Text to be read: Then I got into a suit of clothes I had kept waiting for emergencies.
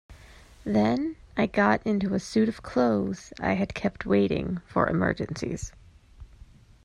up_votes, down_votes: 2, 0